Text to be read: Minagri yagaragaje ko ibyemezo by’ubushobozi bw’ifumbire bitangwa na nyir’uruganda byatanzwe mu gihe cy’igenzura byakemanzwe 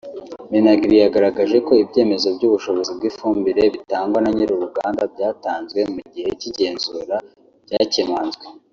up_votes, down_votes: 2, 0